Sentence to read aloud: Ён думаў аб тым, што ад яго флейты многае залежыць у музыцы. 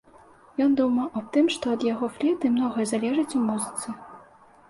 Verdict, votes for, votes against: accepted, 2, 0